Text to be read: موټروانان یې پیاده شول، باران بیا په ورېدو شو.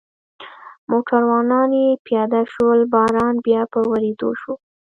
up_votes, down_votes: 0, 2